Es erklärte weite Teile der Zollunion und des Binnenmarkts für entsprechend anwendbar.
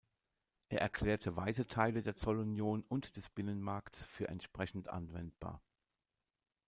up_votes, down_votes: 1, 2